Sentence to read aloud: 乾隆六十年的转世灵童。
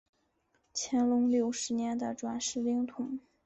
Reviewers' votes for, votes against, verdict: 0, 2, rejected